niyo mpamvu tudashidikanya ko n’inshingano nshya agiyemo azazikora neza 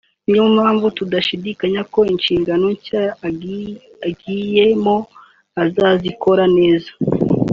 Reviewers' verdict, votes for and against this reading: rejected, 1, 2